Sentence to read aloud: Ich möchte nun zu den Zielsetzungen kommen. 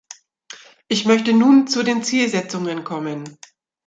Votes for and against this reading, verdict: 2, 0, accepted